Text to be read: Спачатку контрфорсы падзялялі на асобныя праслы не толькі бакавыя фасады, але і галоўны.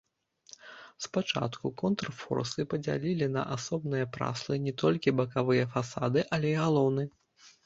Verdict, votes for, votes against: rejected, 0, 2